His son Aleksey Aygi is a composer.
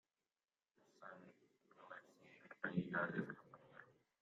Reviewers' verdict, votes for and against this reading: rejected, 0, 2